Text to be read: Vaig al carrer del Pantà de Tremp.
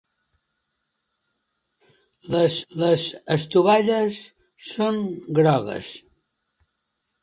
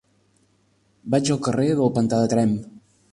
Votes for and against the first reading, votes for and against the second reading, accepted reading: 0, 2, 4, 0, second